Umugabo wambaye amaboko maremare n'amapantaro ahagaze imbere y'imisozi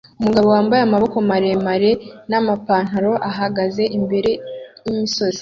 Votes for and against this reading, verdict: 2, 0, accepted